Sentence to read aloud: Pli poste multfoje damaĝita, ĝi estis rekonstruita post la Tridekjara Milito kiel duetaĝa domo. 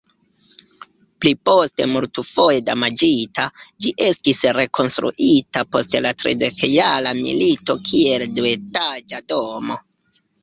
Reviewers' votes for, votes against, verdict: 1, 2, rejected